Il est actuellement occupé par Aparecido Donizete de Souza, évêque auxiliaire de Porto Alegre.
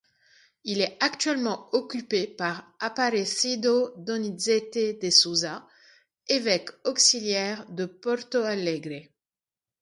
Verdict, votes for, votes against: accepted, 2, 0